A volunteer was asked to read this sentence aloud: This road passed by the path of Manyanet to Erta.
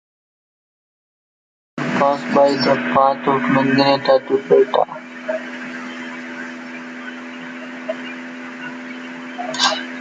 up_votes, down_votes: 0, 2